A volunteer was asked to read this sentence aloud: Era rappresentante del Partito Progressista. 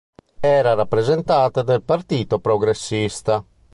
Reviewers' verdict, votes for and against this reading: rejected, 1, 2